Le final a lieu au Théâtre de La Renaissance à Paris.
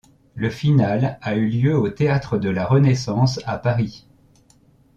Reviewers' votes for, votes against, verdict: 0, 2, rejected